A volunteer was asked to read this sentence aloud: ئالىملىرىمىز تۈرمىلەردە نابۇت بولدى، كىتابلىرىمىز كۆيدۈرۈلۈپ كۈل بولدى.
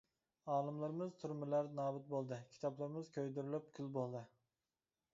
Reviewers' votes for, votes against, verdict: 2, 0, accepted